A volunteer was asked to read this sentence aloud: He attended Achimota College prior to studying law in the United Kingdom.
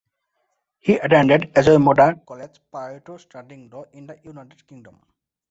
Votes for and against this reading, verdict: 0, 2, rejected